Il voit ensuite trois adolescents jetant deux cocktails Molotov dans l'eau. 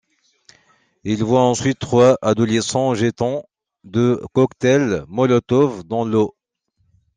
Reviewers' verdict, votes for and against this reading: rejected, 0, 2